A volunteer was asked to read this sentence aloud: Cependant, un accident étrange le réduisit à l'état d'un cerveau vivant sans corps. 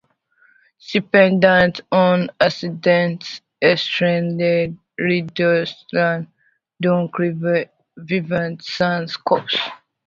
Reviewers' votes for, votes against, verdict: 0, 2, rejected